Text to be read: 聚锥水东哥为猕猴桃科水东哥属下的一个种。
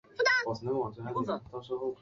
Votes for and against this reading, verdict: 0, 2, rejected